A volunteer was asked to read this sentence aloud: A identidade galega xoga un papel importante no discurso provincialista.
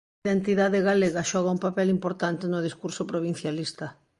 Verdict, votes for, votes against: accepted, 2, 0